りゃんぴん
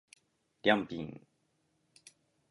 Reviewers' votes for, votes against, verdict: 2, 1, accepted